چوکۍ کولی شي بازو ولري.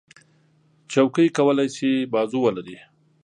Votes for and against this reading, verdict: 2, 0, accepted